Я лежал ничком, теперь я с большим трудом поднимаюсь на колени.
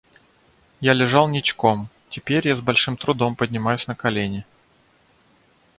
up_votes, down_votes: 2, 0